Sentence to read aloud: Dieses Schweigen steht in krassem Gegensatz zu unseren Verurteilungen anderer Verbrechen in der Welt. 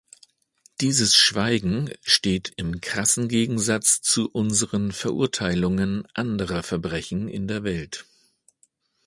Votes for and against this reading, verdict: 1, 2, rejected